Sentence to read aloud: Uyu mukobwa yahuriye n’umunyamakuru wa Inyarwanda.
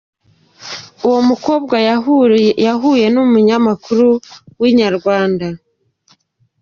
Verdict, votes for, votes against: rejected, 0, 2